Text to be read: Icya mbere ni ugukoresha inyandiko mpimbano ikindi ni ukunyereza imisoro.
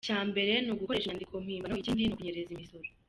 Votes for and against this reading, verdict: 1, 3, rejected